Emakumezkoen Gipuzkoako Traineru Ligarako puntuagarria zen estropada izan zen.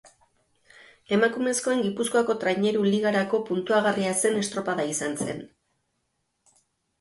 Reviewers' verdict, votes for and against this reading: accepted, 2, 0